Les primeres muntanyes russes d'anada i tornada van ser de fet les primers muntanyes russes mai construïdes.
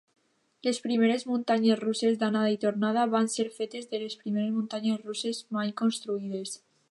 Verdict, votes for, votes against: rejected, 0, 2